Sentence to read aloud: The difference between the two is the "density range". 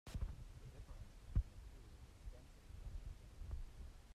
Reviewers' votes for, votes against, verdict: 0, 2, rejected